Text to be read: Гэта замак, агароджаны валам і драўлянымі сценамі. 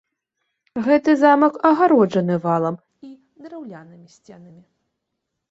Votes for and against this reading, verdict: 0, 2, rejected